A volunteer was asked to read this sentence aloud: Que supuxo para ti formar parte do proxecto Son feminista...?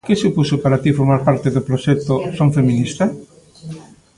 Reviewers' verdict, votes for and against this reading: rejected, 1, 2